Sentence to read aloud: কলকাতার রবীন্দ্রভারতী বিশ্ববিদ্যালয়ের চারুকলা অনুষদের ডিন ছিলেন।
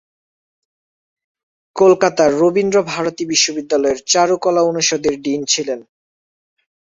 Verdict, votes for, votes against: accepted, 2, 0